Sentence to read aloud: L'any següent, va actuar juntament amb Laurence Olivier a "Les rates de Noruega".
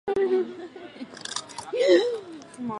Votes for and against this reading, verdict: 0, 4, rejected